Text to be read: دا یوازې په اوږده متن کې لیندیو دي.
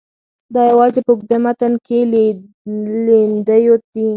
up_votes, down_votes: 4, 2